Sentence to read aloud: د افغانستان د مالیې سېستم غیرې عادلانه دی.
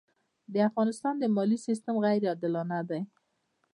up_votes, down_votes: 2, 0